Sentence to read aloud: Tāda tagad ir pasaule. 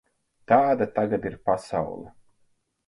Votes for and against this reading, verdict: 4, 0, accepted